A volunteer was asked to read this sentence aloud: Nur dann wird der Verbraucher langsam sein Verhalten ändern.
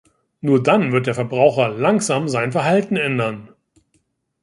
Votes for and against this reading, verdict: 2, 0, accepted